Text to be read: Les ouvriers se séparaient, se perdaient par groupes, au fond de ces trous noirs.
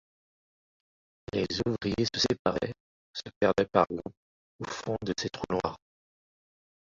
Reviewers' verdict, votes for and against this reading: rejected, 0, 2